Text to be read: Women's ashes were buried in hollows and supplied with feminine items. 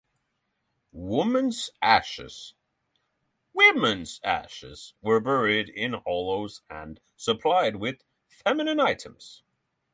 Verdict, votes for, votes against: rejected, 3, 6